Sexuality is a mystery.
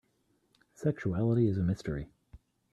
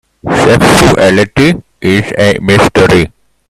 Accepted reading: first